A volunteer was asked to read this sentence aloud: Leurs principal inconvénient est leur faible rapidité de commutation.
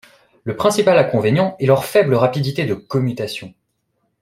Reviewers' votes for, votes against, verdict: 1, 2, rejected